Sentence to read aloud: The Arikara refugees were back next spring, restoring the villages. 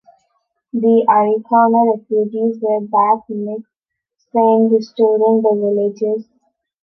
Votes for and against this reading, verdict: 2, 1, accepted